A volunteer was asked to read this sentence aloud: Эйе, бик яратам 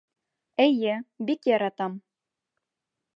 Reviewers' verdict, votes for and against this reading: accepted, 2, 1